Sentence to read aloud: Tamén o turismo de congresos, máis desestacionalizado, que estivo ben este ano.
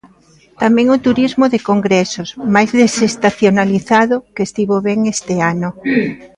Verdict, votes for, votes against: accepted, 2, 0